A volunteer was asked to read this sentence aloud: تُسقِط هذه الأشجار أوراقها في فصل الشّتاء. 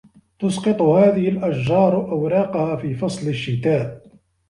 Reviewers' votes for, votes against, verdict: 2, 0, accepted